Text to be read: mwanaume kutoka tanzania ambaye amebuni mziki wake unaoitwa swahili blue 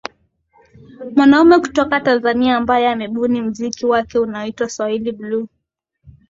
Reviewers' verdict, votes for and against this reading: accepted, 2, 1